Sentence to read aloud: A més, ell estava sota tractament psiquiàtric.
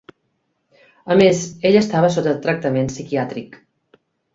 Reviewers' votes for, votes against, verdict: 2, 0, accepted